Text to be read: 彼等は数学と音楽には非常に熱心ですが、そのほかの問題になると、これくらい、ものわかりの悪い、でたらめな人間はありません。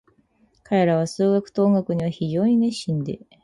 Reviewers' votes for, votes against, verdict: 0, 4, rejected